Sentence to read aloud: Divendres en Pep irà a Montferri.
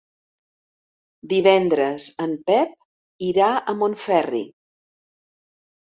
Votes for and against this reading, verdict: 3, 0, accepted